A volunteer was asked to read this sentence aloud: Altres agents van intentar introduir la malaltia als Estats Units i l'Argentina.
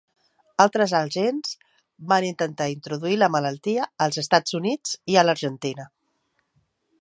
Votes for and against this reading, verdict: 0, 2, rejected